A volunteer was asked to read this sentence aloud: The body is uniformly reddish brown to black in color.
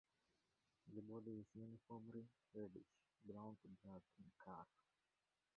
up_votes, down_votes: 0, 2